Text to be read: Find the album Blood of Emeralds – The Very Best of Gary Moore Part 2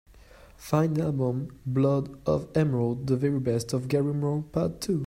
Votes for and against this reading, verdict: 0, 2, rejected